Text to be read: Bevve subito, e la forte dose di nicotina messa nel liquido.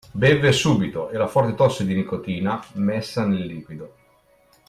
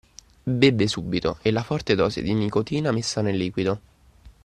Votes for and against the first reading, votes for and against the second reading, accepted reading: 0, 2, 2, 0, second